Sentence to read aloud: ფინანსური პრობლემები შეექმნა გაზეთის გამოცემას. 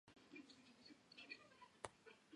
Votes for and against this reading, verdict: 0, 2, rejected